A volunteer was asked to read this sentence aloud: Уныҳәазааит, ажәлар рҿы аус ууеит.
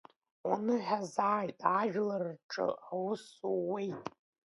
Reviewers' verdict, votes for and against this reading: accepted, 2, 0